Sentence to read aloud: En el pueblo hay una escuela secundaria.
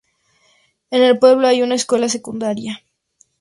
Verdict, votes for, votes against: accepted, 2, 0